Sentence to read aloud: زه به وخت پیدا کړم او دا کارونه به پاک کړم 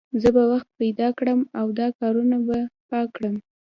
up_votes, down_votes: 2, 0